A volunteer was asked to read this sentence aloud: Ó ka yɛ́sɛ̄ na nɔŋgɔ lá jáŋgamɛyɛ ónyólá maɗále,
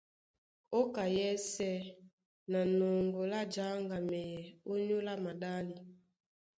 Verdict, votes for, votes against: accepted, 2, 0